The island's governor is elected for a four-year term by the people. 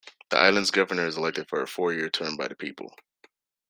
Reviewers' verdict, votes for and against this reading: accepted, 2, 0